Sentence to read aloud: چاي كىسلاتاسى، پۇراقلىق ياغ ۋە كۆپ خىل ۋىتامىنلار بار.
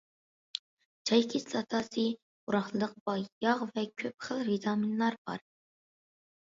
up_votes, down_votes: 0, 2